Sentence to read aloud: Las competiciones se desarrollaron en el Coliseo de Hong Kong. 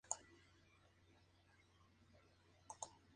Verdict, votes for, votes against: rejected, 0, 2